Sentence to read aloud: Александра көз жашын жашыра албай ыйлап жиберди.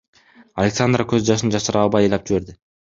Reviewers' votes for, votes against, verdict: 2, 1, accepted